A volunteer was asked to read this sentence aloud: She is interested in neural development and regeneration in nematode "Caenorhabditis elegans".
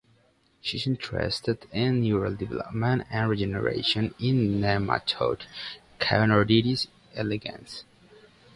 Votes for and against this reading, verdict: 1, 2, rejected